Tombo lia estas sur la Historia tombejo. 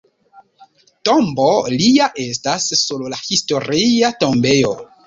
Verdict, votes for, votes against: rejected, 1, 2